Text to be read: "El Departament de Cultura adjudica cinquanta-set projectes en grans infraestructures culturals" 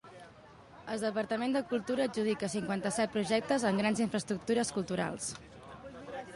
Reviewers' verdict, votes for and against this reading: accepted, 2, 0